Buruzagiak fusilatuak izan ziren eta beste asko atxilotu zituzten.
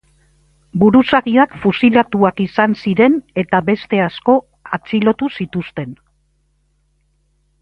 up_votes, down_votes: 2, 0